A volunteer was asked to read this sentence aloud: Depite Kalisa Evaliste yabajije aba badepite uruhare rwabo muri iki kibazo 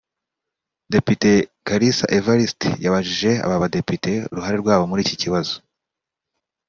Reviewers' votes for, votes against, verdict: 2, 0, accepted